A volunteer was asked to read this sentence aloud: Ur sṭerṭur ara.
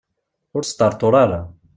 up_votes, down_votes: 2, 0